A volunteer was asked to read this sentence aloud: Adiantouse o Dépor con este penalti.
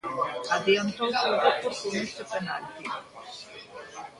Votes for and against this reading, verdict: 1, 2, rejected